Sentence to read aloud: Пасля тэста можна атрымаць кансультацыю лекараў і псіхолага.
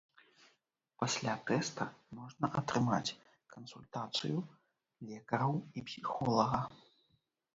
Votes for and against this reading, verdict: 0, 2, rejected